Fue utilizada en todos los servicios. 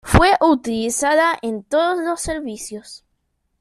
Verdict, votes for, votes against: rejected, 1, 2